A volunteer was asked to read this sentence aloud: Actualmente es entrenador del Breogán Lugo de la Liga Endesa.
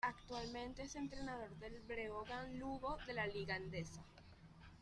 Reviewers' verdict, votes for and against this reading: accepted, 2, 1